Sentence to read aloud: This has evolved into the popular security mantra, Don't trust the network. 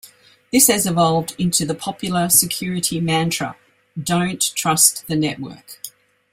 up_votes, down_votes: 2, 0